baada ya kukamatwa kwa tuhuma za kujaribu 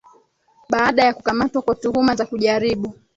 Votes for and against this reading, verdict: 4, 0, accepted